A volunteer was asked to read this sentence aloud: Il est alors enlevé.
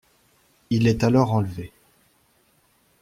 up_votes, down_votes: 0, 2